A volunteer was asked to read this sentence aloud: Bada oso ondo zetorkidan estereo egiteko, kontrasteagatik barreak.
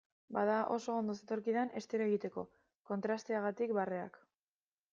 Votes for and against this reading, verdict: 2, 0, accepted